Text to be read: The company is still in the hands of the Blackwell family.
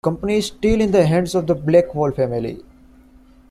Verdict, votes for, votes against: accepted, 2, 0